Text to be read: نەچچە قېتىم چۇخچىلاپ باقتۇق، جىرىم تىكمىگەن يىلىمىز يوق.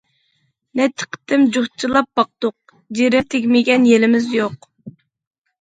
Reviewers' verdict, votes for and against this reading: rejected, 1, 2